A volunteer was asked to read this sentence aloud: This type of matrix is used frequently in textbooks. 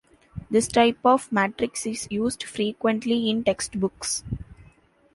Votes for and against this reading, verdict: 2, 0, accepted